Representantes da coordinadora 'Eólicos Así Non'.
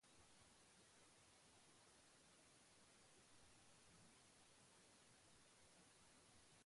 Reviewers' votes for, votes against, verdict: 0, 2, rejected